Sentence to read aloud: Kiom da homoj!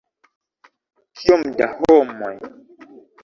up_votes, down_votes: 0, 2